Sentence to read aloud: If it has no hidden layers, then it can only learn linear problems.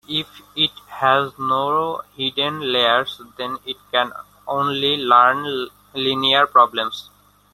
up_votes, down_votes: 1, 2